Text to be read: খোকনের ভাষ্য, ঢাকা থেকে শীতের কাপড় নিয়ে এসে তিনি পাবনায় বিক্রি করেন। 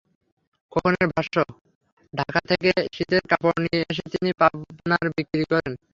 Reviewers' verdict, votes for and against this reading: accepted, 3, 0